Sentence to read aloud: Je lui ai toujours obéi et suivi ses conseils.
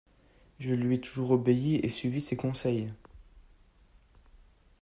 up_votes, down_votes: 2, 0